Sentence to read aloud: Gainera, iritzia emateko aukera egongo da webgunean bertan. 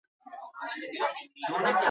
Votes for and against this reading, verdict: 0, 4, rejected